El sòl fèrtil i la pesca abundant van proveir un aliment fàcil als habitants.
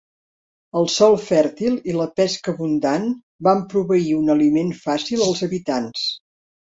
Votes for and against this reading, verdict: 4, 0, accepted